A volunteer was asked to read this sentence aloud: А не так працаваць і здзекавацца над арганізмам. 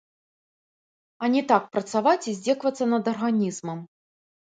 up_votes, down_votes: 2, 0